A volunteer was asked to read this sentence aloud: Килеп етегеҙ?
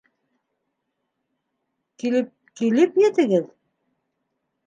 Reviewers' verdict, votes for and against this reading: rejected, 1, 2